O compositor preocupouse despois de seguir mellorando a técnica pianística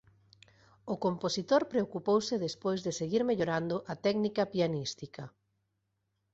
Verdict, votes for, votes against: accepted, 3, 0